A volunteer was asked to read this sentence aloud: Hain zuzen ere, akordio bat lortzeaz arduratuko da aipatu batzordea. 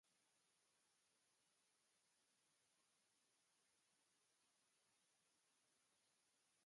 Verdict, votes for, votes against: rejected, 0, 2